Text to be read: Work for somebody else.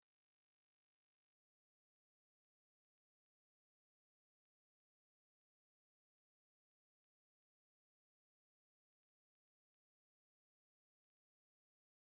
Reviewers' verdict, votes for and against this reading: rejected, 0, 2